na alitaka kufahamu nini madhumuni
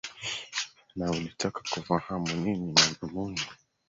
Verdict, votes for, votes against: rejected, 0, 2